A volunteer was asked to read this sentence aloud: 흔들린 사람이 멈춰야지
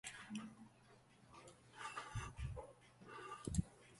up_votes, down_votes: 0, 2